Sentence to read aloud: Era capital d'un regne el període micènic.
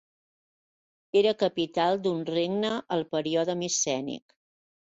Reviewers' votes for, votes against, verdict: 0, 3, rejected